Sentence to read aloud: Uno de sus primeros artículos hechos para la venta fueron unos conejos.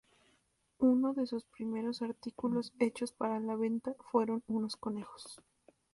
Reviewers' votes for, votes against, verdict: 2, 0, accepted